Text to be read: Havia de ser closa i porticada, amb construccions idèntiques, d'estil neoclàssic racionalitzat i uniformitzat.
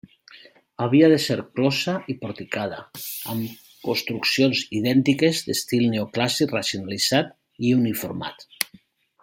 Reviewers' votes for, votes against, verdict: 0, 2, rejected